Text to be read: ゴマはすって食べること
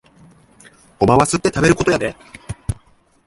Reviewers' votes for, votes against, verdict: 0, 2, rejected